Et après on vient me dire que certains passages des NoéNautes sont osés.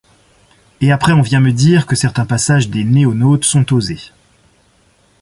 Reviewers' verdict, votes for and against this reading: rejected, 1, 2